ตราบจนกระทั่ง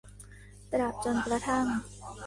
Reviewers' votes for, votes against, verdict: 1, 2, rejected